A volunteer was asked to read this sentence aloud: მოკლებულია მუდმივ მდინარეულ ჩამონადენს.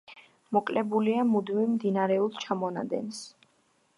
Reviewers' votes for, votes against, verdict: 2, 0, accepted